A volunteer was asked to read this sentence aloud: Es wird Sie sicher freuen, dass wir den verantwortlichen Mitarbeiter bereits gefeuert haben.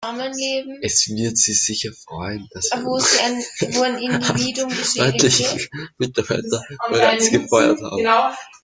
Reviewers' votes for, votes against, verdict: 0, 2, rejected